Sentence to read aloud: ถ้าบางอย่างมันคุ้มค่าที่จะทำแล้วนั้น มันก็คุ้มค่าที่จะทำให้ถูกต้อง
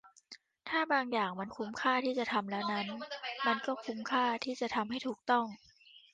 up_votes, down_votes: 0, 2